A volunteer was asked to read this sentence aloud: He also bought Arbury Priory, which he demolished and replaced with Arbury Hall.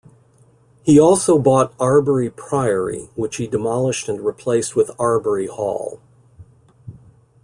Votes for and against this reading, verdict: 2, 0, accepted